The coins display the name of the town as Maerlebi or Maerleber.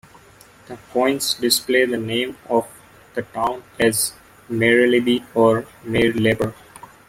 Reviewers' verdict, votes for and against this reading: accepted, 2, 0